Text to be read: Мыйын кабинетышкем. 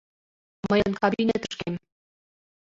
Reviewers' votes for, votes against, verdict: 0, 2, rejected